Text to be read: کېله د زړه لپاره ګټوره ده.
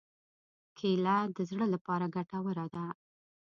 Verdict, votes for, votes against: accepted, 2, 0